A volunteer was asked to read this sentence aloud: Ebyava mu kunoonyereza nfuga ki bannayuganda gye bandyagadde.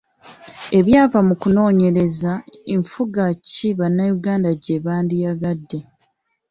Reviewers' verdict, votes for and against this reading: accepted, 2, 0